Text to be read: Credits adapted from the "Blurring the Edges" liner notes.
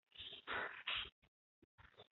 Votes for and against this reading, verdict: 0, 2, rejected